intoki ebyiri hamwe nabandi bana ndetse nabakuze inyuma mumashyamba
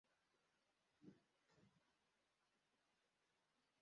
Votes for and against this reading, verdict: 0, 2, rejected